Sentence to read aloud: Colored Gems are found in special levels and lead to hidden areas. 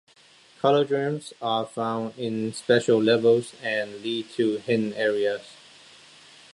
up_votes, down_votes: 0, 2